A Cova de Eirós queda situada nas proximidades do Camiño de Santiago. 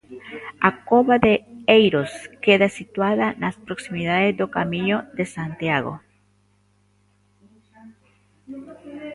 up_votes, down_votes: 1, 2